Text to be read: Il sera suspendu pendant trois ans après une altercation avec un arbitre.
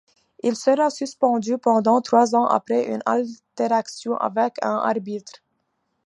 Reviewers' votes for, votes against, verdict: 1, 2, rejected